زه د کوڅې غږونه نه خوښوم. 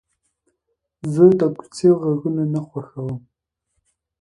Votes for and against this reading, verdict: 2, 0, accepted